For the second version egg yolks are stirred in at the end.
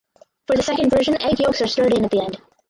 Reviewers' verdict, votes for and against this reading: rejected, 2, 4